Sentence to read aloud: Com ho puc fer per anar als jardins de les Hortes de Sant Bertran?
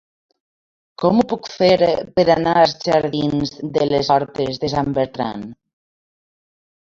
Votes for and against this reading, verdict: 1, 2, rejected